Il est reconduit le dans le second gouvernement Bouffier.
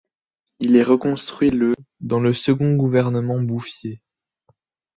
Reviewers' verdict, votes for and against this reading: rejected, 1, 2